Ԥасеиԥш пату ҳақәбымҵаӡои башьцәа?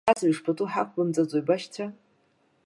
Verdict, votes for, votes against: rejected, 1, 2